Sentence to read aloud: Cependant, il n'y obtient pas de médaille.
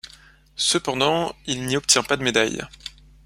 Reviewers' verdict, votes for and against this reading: accepted, 2, 0